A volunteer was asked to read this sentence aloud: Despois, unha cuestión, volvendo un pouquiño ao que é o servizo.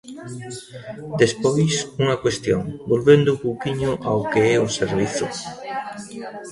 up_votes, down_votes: 0, 2